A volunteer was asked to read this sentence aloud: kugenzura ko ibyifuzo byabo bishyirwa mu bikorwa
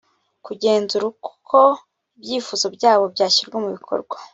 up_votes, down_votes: 0, 2